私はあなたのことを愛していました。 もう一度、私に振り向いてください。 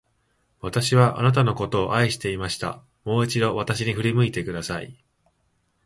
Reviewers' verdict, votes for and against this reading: accepted, 2, 0